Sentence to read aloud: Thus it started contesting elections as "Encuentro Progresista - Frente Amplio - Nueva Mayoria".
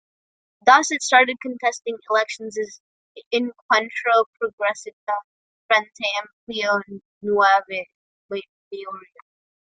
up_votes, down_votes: 0, 2